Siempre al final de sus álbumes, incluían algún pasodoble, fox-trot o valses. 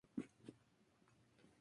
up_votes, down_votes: 0, 2